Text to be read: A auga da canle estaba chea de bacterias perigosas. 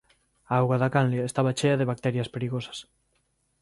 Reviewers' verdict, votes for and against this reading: rejected, 1, 2